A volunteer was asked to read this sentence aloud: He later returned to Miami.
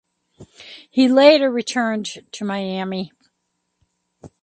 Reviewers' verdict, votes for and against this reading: accepted, 2, 0